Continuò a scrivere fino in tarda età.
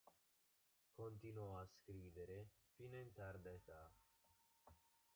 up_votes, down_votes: 0, 2